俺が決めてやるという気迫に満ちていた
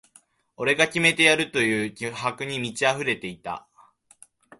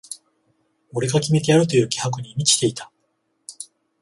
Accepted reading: second